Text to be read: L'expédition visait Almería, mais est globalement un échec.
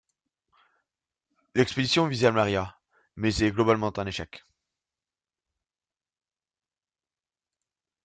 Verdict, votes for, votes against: rejected, 1, 2